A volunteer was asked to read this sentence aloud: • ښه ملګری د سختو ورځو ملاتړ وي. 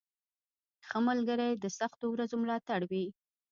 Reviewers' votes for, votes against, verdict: 0, 2, rejected